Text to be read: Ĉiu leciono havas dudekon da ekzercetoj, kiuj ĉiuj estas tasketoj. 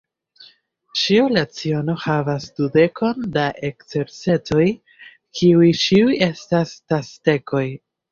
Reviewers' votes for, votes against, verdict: 1, 2, rejected